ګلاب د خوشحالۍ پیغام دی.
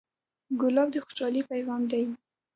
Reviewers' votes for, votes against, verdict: 1, 2, rejected